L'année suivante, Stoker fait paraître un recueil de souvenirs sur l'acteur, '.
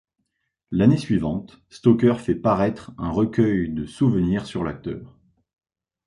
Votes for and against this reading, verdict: 2, 0, accepted